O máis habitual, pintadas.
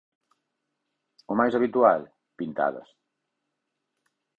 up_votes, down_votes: 4, 0